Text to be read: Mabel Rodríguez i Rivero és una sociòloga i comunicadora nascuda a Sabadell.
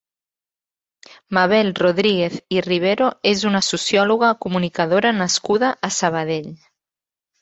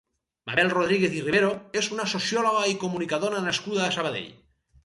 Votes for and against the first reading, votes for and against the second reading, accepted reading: 2, 1, 2, 2, first